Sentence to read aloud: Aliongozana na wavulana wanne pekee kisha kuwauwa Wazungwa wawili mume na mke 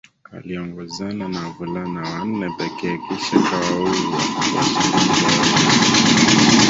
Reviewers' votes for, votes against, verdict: 1, 2, rejected